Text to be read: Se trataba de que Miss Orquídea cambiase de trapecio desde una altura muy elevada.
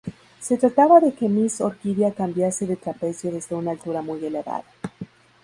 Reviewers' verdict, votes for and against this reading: accepted, 2, 0